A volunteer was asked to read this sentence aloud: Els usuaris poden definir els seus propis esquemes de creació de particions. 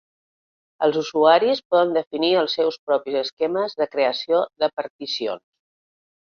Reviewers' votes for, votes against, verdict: 0, 2, rejected